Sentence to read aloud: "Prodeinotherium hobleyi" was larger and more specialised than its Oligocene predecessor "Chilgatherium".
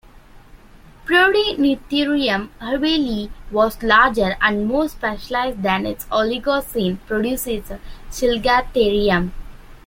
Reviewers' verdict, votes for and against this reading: accepted, 2, 0